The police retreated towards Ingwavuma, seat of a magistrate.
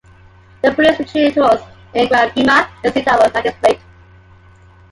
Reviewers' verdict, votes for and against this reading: rejected, 0, 2